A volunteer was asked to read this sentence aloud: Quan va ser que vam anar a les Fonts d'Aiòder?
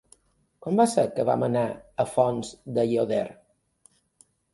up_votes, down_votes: 1, 2